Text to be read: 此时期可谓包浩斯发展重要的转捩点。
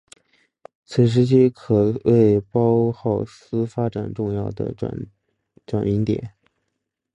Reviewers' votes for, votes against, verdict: 1, 2, rejected